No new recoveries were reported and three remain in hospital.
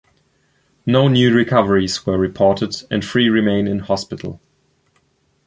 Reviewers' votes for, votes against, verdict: 2, 0, accepted